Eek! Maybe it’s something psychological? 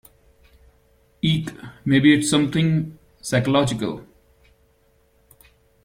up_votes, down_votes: 2, 0